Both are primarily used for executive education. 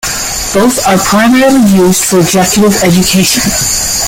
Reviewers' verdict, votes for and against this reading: accepted, 2, 1